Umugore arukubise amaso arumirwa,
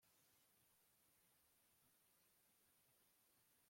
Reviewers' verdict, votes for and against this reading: rejected, 1, 2